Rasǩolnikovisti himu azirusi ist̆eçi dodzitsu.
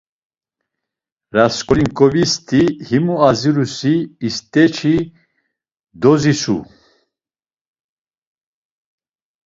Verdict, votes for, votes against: rejected, 0, 2